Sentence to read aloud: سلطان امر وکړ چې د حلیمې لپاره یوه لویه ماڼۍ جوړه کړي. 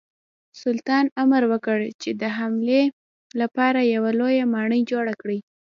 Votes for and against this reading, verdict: 0, 2, rejected